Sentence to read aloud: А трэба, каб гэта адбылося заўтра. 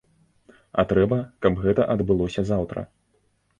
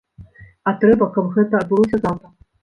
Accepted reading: first